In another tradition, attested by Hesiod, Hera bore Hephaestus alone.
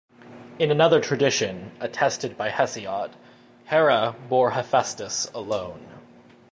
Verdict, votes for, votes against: accepted, 2, 0